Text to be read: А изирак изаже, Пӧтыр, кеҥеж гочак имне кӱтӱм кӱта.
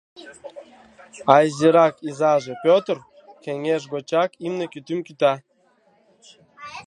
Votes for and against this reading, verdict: 1, 2, rejected